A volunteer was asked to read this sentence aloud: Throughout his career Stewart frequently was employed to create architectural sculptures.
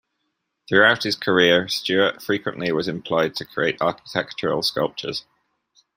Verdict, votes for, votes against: accepted, 2, 0